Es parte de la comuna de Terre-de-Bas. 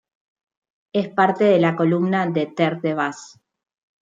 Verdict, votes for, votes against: rejected, 0, 2